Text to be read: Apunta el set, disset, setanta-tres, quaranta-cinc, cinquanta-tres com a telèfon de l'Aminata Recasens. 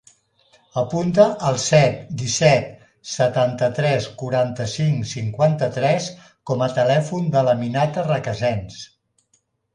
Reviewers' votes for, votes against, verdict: 2, 0, accepted